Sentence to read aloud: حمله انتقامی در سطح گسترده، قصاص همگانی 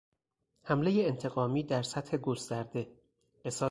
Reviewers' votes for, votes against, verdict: 0, 2, rejected